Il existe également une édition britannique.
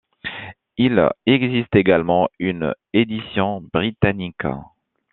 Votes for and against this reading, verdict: 2, 0, accepted